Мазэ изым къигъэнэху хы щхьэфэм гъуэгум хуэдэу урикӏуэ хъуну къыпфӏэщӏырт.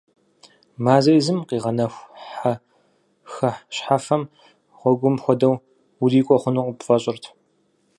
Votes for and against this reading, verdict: 0, 4, rejected